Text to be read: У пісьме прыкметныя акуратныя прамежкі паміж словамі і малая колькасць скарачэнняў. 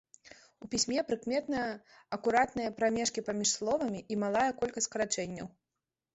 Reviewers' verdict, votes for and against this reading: accepted, 2, 0